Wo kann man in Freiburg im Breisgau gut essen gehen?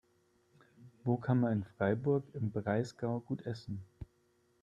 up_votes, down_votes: 3, 4